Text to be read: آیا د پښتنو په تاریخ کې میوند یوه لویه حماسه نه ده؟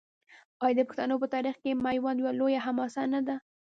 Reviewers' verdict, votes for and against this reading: rejected, 1, 2